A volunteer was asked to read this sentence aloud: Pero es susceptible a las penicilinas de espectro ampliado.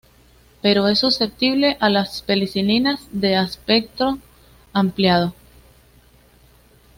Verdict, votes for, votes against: rejected, 0, 2